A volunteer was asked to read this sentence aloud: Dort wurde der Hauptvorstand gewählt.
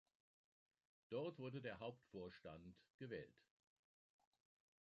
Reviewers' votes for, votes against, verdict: 2, 0, accepted